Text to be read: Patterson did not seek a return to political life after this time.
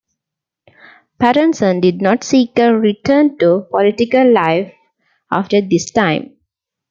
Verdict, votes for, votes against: rejected, 0, 2